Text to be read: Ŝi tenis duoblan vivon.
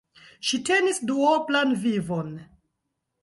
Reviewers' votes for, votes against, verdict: 2, 0, accepted